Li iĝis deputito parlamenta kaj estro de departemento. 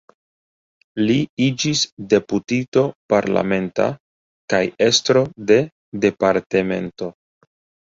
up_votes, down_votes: 2, 0